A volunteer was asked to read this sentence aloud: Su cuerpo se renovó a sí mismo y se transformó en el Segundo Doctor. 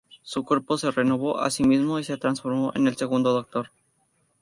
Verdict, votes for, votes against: accepted, 2, 0